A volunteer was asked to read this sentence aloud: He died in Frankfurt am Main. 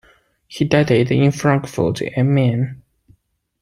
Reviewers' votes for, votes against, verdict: 2, 1, accepted